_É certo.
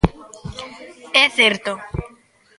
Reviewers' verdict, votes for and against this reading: accepted, 2, 0